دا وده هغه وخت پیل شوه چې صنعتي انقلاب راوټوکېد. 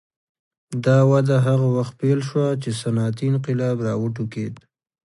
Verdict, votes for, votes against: accepted, 2, 0